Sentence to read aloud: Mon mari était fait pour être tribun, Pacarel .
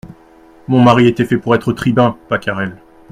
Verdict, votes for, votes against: accepted, 2, 0